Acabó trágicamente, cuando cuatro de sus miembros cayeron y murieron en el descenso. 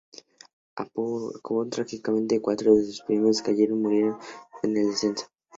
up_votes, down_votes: 2, 2